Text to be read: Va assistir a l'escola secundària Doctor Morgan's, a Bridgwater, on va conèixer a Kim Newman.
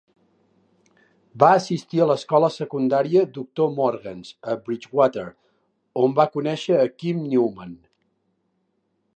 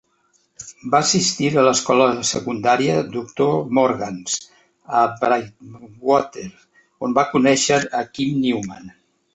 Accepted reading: first